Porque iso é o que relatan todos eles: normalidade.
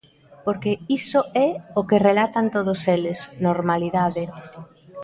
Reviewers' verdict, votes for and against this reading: accepted, 2, 0